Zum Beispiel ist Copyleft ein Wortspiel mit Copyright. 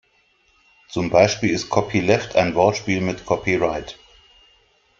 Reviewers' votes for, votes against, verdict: 2, 0, accepted